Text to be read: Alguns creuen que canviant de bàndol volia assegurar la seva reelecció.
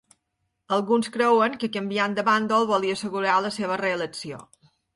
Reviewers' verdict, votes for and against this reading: accepted, 2, 0